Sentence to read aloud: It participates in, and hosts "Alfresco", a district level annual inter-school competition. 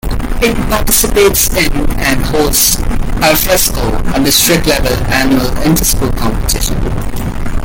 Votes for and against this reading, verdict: 2, 0, accepted